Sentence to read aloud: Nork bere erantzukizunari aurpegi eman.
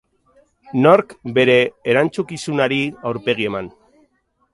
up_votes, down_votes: 2, 2